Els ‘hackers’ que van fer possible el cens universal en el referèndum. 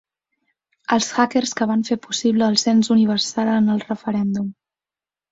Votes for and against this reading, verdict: 6, 0, accepted